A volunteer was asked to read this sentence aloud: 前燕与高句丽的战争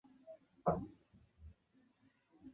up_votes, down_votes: 0, 2